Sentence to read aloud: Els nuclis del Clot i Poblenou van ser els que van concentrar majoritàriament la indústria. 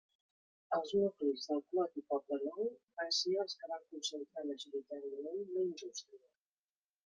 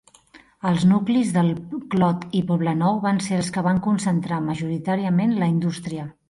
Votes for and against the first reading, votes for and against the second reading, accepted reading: 0, 2, 3, 0, second